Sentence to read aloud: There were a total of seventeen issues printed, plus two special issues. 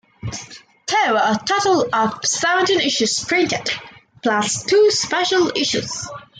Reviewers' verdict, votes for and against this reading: accepted, 2, 0